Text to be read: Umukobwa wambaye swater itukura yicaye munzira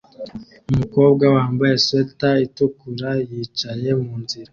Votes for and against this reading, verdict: 2, 0, accepted